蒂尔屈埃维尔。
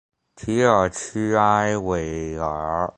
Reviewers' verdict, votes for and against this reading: accepted, 2, 0